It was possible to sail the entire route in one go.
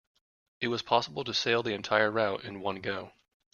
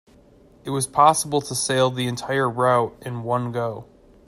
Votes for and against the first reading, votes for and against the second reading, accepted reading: 1, 2, 2, 0, second